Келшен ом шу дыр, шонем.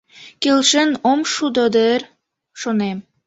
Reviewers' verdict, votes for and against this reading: rejected, 1, 2